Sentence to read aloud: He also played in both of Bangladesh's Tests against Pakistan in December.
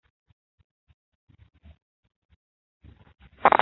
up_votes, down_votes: 0, 2